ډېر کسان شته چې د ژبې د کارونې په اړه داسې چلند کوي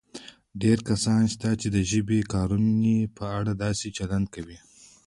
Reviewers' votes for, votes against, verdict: 2, 1, accepted